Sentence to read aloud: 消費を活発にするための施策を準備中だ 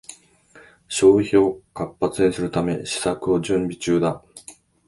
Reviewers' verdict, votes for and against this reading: rejected, 0, 2